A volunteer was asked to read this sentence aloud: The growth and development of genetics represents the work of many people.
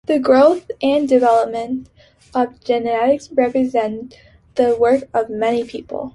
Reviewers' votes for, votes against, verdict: 2, 0, accepted